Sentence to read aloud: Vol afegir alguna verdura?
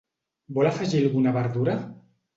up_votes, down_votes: 2, 0